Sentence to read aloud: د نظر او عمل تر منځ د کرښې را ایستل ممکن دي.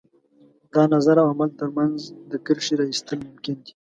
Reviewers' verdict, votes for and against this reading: accepted, 2, 0